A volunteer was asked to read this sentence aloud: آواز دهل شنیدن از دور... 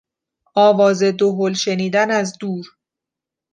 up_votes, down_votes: 2, 0